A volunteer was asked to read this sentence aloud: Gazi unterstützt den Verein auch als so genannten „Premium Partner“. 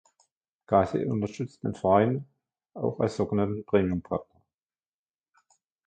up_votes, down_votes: 0, 2